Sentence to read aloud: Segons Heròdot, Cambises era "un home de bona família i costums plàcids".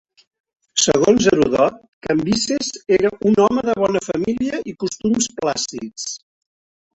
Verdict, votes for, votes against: rejected, 3, 4